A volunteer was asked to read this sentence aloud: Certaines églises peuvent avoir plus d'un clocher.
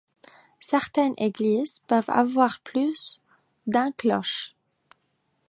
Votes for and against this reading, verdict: 0, 2, rejected